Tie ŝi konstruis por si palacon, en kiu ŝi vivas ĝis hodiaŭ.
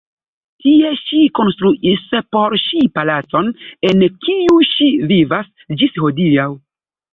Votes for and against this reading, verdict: 2, 1, accepted